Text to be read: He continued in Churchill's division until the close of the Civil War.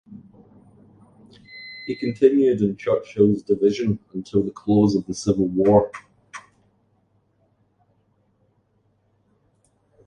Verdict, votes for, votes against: accepted, 2, 0